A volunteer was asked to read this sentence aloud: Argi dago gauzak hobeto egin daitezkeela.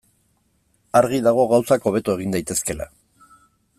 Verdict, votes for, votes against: accepted, 2, 0